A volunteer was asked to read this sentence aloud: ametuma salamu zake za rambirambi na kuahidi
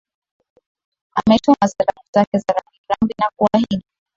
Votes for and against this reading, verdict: 5, 4, accepted